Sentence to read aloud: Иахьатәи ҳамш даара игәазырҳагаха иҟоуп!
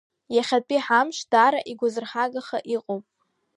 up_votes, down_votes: 2, 0